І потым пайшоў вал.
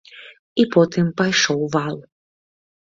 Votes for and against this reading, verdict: 2, 0, accepted